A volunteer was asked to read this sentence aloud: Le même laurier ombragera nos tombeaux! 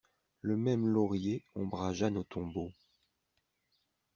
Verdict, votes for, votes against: rejected, 0, 2